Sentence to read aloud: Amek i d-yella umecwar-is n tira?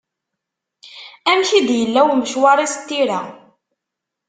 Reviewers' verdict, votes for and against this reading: accepted, 2, 0